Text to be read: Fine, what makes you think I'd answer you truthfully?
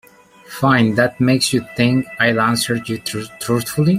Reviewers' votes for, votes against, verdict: 0, 2, rejected